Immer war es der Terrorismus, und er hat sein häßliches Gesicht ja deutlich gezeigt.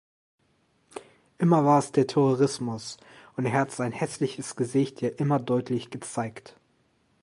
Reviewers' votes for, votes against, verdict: 0, 2, rejected